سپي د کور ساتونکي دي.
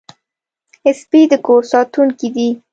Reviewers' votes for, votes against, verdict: 2, 0, accepted